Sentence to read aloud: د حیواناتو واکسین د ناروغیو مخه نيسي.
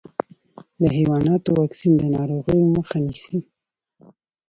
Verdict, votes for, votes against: accepted, 2, 1